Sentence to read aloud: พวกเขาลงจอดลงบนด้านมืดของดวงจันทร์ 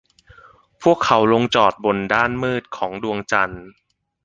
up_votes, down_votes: 2, 0